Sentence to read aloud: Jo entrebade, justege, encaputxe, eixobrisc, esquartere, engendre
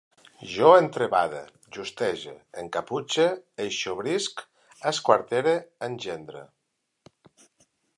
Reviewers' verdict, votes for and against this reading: accepted, 2, 0